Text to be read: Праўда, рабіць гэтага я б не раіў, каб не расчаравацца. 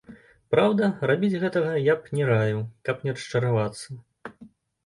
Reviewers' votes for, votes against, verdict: 2, 0, accepted